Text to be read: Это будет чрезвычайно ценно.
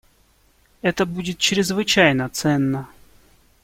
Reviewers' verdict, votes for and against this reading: accepted, 2, 0